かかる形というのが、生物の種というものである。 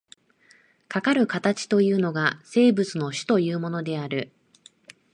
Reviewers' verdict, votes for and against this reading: accepted, 2, 0